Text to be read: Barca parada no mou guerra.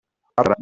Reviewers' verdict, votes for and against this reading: rejected, 0, 2